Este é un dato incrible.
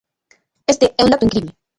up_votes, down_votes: 0, 2